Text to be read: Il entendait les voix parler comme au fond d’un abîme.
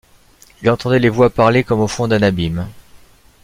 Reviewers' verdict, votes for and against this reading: accepted, 2, 1